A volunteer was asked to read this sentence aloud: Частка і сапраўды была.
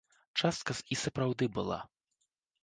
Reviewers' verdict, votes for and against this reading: rejected, 1, 2